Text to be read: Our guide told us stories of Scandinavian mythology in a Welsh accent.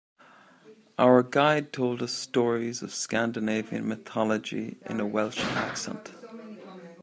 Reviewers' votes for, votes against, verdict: 2, 0, accepted